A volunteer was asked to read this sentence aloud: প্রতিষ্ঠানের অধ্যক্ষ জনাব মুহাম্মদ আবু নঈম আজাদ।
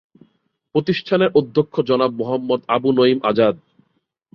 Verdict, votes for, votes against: accepted, 5, 0